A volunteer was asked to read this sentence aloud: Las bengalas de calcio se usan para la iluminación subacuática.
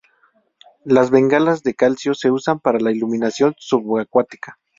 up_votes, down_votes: 2, 0